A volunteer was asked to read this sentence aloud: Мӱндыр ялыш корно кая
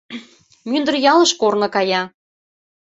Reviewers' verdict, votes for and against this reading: accepted, 2, 0